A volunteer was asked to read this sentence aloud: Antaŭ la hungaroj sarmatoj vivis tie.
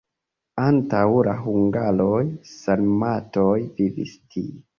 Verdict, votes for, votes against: rejected, 1, 2